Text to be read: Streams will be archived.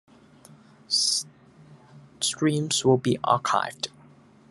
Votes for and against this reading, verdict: 2, 1, accepted